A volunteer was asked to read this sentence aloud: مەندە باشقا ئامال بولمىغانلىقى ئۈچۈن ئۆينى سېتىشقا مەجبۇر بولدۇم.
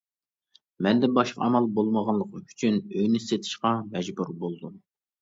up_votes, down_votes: 2, 0